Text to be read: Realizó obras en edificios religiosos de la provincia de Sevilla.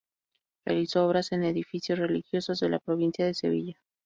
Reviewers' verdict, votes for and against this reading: accepted, 2, 0